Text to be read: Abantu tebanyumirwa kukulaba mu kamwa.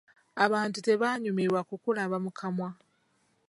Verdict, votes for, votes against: accepted, 2, 1